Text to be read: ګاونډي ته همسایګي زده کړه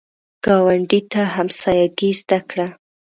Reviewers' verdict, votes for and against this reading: accepted, 2, 0